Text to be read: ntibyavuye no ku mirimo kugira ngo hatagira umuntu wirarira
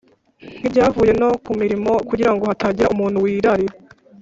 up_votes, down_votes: 4, 0